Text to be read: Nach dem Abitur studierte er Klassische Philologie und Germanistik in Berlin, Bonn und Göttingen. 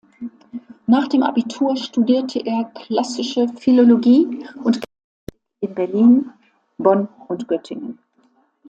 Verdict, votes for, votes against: rejected, 0, 2